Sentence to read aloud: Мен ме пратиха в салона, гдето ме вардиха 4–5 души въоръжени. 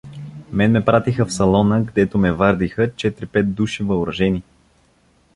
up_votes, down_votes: 0, 2